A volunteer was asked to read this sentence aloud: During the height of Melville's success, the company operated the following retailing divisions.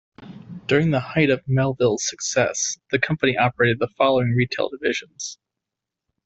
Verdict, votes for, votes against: rejected, 0, 2